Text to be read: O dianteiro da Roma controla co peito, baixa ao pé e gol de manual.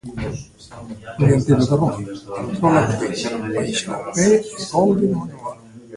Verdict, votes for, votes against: rejected, 0, 2